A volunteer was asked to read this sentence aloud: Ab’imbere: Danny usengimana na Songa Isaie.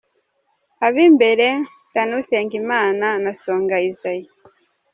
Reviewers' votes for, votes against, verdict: 2, 0, accepted